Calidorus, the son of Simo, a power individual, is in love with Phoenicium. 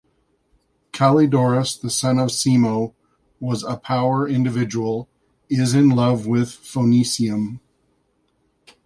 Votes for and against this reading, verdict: 1, 2, rejected